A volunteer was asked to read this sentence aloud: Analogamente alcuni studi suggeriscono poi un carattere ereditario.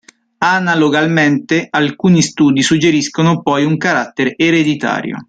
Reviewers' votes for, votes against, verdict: 0, 2, rejected